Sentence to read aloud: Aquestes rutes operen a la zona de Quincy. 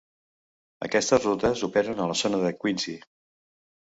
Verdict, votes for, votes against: accepted, 2, 0